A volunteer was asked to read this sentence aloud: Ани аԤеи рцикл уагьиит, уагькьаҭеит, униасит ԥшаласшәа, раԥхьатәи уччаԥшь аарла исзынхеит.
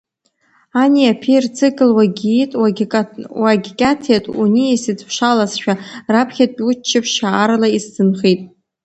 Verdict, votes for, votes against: rejected, 0, 2